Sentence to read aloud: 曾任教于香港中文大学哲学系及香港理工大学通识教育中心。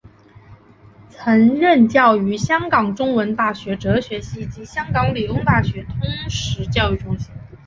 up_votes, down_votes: 3, 0